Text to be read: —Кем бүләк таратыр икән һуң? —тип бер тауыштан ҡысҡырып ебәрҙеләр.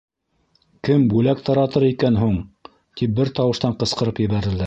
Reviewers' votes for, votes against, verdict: 1, 2, rejected